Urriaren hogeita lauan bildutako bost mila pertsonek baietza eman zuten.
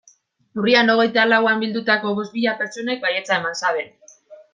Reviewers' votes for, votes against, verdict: 1, 2, rejected